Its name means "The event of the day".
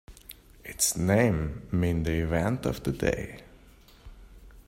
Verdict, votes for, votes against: accepted, 2, 0